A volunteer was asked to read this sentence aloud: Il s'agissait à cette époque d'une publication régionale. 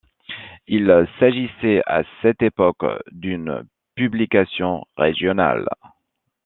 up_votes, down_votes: 2, 0